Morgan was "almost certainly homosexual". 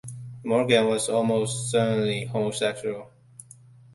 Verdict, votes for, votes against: accepted, 2, 0